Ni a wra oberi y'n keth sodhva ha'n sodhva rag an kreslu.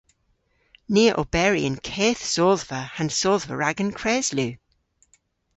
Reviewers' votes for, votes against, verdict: 1, 2, rejected